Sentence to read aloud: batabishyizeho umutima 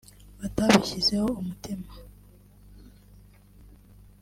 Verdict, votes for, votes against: rejected, 1, 2